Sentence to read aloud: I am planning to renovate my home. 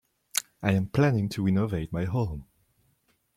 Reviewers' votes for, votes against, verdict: 2, 0, accepted